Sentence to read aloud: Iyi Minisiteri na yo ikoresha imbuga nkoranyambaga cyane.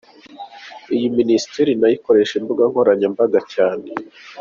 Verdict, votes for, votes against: accepted, 2, 0